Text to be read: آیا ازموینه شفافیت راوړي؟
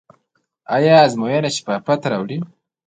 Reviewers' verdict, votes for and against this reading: rejected, 0, 2